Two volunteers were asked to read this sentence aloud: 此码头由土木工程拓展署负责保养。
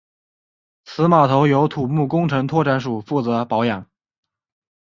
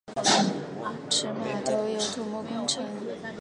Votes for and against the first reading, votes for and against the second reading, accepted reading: 2, 0, 0, 2, first